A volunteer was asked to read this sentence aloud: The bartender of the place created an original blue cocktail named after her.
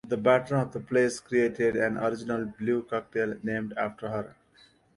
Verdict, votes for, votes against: accepted, 2, 0